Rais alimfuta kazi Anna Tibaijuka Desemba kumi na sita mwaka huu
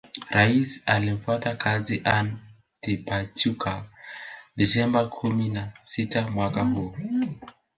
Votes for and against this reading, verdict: 1, 2, rejected